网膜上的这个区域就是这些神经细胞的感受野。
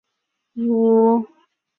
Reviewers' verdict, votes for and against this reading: rejected, 0, 3